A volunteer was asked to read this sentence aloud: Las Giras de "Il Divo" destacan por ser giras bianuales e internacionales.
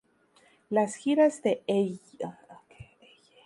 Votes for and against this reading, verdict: 0, 2, rejected